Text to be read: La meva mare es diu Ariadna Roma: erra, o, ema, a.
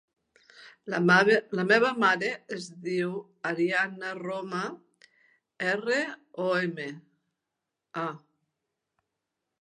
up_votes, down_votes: 0, 2